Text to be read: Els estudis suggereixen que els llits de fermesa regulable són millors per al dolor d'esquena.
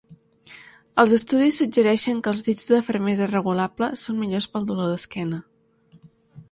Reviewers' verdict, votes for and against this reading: rejected, 1, 2